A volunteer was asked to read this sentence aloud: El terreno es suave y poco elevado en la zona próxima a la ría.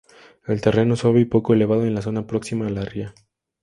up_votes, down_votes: 2, 0